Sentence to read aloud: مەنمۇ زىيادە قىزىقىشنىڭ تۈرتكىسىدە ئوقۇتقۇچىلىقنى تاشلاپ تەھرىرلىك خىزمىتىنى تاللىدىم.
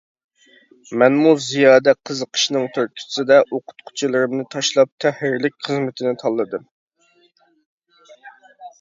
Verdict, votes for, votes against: rejected, 0, 2